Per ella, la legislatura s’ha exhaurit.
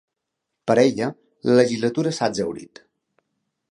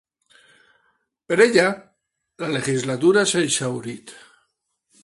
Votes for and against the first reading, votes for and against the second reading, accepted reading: 3, 0, 1, 2, first